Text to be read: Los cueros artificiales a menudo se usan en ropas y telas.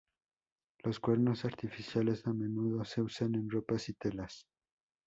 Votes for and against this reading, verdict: 2, 0, accepted